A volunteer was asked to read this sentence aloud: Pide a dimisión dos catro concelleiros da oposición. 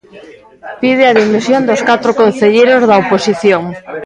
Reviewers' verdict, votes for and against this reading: accepted, 2, 0